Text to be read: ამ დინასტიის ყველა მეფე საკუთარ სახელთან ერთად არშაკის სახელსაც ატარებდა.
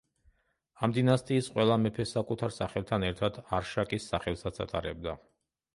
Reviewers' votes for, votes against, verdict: 2, 0, accepted